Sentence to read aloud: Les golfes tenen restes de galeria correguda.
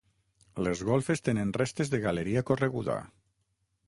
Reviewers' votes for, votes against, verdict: 6, 0, accepted